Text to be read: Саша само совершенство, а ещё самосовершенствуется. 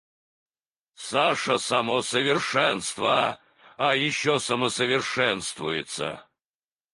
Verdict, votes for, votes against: rejected, 2, 4